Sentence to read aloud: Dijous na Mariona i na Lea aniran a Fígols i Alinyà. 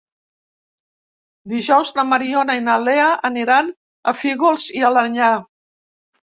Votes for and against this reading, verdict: 0, 2, rejected